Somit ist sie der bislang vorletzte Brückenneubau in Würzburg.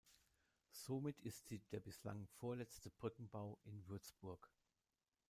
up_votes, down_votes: 0, 2